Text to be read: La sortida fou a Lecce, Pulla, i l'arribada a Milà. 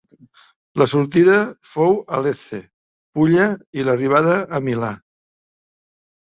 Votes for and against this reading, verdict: 2, 0, accepted